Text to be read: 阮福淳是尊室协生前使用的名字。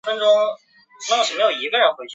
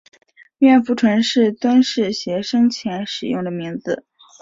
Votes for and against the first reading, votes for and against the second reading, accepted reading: 0, 2, 3, 0, second